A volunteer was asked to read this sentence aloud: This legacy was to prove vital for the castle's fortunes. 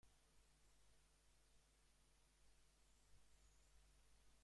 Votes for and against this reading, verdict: 0, 2, rejected